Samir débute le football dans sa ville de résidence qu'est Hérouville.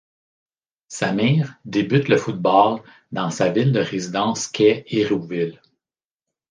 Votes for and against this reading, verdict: 2, 0, accepted